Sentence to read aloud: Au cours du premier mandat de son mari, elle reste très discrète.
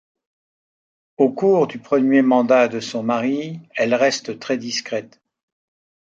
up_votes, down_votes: 2, 0